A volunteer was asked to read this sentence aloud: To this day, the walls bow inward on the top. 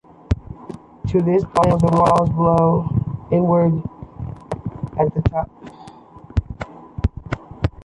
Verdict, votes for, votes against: rejected, 1, 3